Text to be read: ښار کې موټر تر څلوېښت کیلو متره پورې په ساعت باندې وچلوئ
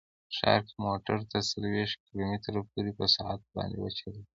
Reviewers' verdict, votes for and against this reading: accepted, 2, 1